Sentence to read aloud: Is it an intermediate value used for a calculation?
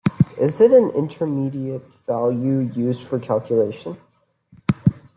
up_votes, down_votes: 2, 1